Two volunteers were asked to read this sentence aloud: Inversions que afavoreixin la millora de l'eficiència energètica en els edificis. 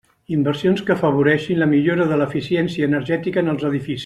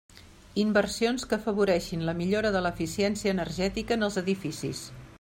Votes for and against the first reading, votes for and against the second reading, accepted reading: 0, 2, 3, 0, second